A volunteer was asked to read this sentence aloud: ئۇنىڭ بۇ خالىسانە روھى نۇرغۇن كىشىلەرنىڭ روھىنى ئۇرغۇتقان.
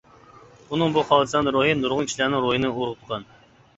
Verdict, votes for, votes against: rejected, 0, 2